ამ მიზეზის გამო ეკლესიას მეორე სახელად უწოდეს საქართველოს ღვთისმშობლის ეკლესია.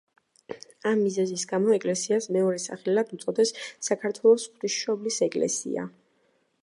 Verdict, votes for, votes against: accepted, 2, 0